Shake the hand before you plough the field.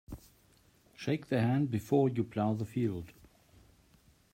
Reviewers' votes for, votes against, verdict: 2, 0, accepted